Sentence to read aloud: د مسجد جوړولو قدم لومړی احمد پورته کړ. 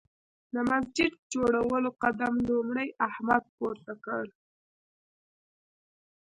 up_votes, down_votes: 0, 2